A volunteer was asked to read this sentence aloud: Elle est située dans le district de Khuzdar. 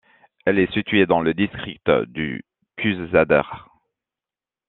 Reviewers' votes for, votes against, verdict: 1, 2, rejected